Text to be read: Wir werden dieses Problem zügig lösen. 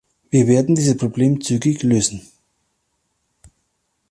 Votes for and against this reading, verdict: 0, 2, rejected